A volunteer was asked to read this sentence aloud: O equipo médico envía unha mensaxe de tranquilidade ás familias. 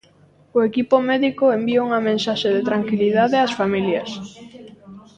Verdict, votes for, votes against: rejected, 1, 2